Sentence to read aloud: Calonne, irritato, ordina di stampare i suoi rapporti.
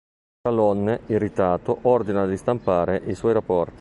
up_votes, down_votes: 1, 2